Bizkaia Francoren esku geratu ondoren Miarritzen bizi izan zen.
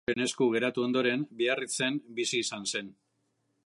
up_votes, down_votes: 0, 2